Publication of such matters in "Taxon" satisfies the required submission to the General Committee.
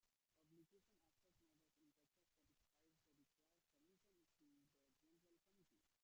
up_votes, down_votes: 0, 2